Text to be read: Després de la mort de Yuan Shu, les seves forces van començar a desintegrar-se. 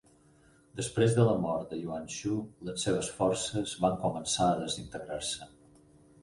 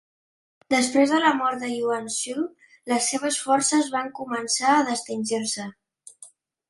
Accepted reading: first